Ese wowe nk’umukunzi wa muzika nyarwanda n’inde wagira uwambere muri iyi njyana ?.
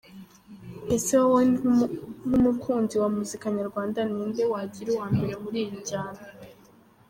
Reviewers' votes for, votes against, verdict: 0, 2, rejected